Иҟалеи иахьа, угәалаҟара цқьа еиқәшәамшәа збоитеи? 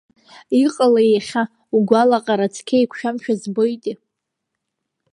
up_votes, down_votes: 2, 0